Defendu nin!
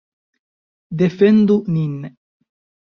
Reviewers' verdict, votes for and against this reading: rejected, 0, 2